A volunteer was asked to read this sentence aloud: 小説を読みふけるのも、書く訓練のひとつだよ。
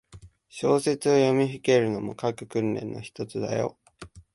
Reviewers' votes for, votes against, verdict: 0, 2, rejected